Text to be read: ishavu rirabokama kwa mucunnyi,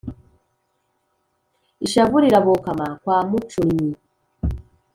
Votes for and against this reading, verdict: 2, 0, accepted